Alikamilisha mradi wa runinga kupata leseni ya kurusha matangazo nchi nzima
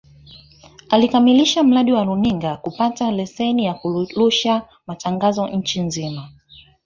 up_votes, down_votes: 0, 2